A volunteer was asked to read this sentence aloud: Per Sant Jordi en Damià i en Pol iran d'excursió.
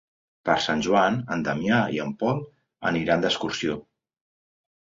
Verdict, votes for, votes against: rejected, 0, 2